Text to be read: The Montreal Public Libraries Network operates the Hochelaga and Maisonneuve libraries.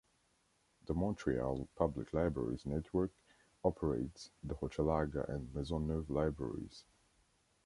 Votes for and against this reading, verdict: 2, 0, accepted